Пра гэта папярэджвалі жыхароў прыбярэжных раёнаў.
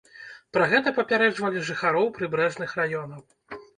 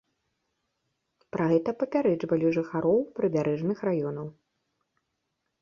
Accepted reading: second